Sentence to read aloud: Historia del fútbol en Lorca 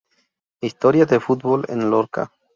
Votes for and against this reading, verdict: 0, 2, rejected